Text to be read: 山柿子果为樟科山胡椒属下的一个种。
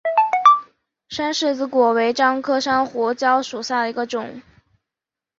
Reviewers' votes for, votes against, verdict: 2, 3, rejected